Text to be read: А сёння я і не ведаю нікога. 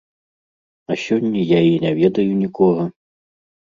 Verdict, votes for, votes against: accepted, 2, 0